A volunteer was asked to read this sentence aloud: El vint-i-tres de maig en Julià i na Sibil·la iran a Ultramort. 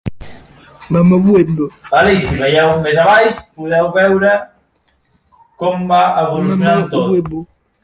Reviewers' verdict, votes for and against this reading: rejected, 0, 2